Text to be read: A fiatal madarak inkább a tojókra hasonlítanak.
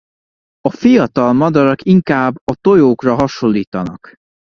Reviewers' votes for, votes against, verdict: 2, 0, accepted